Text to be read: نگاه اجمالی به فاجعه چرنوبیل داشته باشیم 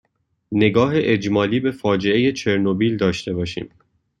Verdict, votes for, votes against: accepted, 2, 0